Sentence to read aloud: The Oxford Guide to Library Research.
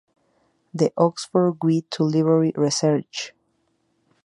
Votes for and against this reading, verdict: 0, 2, rejected